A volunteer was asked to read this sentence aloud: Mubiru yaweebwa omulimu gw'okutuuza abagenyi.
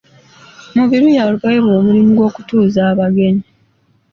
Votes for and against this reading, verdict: 2, 0, accepted